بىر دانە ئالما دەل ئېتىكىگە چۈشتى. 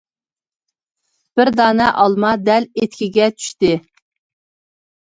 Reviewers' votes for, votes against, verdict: 2, 0, accepted